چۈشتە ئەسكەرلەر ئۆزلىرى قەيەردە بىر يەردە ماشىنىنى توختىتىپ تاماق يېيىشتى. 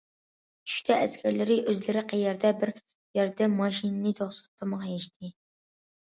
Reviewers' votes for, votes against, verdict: 1, 2, rejected